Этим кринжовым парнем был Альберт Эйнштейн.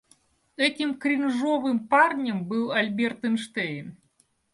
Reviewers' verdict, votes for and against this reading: accepted, 2, 0